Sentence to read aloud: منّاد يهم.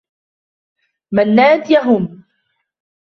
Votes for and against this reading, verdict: 2, 0, accepted